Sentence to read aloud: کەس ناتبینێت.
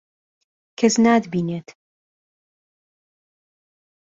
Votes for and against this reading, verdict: 2, 0, accepted